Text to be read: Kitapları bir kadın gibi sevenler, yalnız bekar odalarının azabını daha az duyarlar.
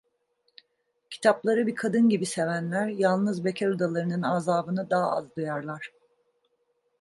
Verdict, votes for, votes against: accepted, 2, 0